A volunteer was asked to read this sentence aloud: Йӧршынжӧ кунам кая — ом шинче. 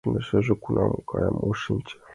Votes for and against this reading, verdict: 2, 1, accepted